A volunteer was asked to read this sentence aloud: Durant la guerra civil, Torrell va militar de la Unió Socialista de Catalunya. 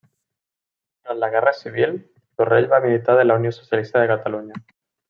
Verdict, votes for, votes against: rejected, 1, 2